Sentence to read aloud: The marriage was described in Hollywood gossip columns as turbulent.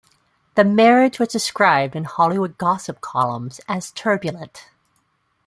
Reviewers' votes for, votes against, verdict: 3, 0, accepted